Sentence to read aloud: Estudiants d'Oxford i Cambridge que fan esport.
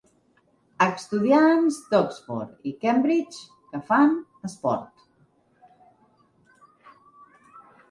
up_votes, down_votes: 2, 0